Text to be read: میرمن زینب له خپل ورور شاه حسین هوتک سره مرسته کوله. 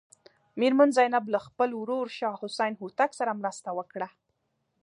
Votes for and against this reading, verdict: 0, 2, rejected